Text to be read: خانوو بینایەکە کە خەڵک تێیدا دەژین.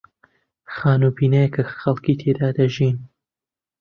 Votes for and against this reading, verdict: 1, 2, rejected